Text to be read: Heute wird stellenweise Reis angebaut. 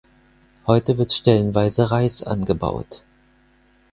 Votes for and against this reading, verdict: 4, 0, accepted